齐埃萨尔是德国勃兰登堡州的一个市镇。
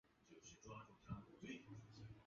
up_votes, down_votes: 0, 2